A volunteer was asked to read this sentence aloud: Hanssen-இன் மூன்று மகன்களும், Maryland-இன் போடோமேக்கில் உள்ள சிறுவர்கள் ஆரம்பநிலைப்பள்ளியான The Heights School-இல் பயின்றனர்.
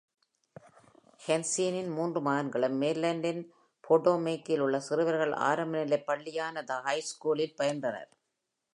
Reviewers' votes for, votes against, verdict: 2, 0, accepted